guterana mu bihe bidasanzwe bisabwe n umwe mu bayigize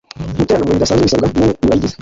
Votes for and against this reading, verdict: 1, 2, rejected